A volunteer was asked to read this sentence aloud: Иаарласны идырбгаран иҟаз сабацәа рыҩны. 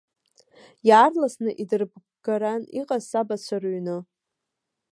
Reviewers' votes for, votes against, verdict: 1, 2, rejected